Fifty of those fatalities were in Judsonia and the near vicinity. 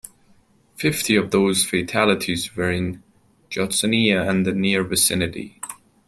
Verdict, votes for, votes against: accepted, 2, 0